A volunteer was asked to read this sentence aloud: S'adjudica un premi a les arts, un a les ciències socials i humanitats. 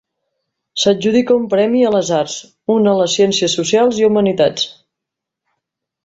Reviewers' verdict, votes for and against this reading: accepted, 2, 0